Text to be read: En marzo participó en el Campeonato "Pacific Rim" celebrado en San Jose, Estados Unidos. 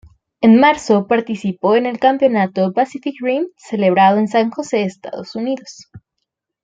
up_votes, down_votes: 2, 1